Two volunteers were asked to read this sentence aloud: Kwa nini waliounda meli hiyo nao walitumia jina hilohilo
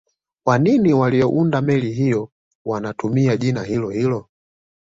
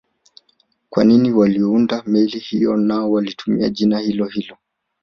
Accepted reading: second